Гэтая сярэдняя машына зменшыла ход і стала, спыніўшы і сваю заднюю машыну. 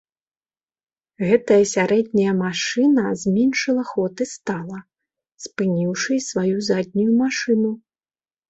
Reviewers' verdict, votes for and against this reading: accepted, 2, 0